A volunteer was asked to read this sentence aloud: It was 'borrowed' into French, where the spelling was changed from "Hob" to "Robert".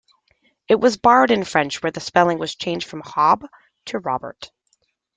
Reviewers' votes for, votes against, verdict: 1, 2, rejected